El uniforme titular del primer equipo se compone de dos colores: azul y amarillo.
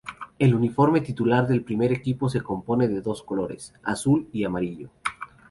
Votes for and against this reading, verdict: 2, 0, accepted